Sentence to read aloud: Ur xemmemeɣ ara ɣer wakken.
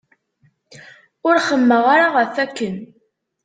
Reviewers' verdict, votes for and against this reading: rejected, 1, 2